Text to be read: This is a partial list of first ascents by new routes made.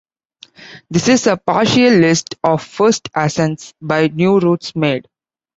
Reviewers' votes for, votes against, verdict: 2, 0, accepted